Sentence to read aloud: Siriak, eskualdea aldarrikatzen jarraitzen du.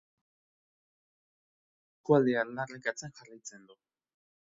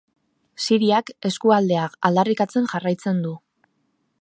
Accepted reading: second